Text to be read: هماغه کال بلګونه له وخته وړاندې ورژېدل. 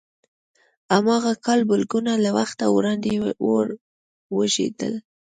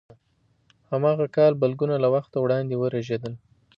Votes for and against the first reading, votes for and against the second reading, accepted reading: 0, 2, 2, 0, second